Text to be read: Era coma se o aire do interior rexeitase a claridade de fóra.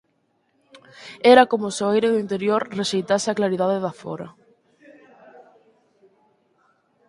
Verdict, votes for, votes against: rejected, 2, 6